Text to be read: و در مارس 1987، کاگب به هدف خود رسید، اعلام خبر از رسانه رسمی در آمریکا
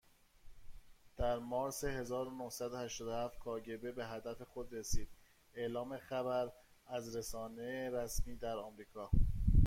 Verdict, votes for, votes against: rejected, 0, 2